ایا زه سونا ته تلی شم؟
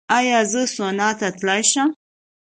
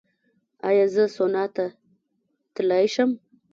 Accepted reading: first